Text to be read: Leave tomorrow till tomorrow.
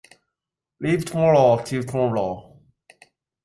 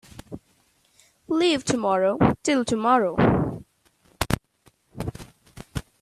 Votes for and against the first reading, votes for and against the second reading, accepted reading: 0, 2, 2, 0, second